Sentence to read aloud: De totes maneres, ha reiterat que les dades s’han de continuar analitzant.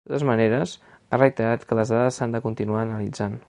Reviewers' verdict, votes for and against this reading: rejected, 1, 4